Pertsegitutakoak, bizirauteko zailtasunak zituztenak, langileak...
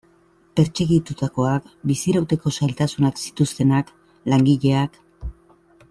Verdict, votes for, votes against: accepted, 2, 0